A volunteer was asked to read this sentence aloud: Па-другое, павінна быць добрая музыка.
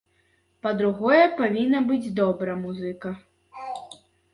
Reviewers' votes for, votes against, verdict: 1, 3, rejected